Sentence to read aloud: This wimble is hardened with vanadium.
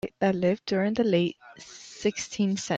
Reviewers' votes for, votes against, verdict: 0, 2, rejected